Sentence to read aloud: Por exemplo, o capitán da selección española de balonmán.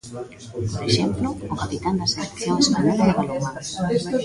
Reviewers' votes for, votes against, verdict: 0, 2, rejected